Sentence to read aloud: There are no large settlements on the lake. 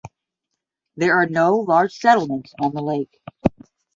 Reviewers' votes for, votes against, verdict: 10, 0, accepted